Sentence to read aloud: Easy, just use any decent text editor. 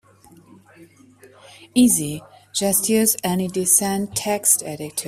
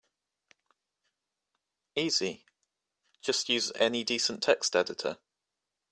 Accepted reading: second